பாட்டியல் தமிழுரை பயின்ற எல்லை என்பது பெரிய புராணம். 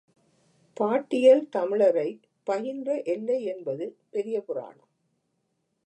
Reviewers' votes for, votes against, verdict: 0, 2, rejected